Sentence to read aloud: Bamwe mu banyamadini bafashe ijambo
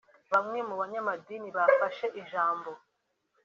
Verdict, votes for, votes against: accepted, 3, 0